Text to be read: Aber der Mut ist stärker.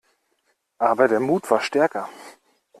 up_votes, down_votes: 0, 2